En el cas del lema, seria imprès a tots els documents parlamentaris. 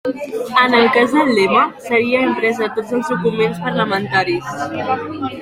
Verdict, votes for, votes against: rejected, 0, 2